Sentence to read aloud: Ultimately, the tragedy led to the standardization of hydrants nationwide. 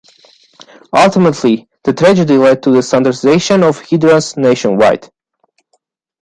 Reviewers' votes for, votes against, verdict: 2, 3, rejected